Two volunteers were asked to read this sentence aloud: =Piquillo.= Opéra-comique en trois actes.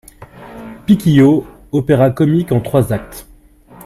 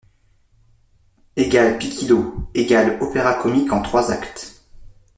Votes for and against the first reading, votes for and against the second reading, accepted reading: 2, 0, 1, 2, first